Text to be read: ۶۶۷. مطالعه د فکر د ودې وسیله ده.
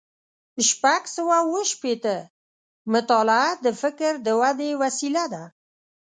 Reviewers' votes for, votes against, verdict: 0, 2, rejected